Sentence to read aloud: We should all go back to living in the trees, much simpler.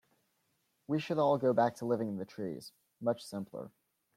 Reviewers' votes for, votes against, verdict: 2, 0, accepted